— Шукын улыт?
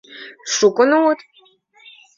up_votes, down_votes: 2, 0